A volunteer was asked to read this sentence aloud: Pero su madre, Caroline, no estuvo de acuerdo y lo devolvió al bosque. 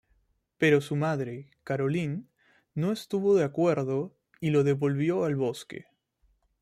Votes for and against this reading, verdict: 2, 0, accepted